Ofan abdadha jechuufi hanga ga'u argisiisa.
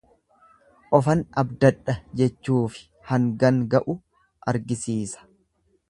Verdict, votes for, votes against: rejected, 1, 2